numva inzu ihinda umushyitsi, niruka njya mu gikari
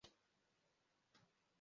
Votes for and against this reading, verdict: 0, 2, rejected